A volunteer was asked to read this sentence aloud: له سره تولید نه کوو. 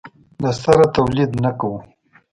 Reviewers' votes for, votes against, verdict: 2, 0, accepted